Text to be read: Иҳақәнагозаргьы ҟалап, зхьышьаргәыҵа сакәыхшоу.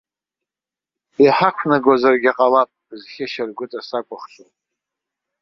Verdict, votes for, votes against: accepted, 2, 0